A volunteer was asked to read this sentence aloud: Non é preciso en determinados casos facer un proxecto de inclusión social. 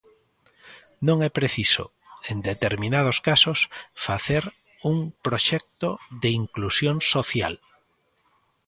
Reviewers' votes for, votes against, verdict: 2, 0, accepted